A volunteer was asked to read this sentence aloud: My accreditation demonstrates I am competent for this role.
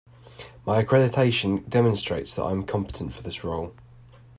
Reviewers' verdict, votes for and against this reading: rejected, 1, 2